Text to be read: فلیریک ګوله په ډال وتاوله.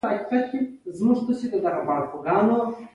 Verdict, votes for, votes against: accepted, 2, 0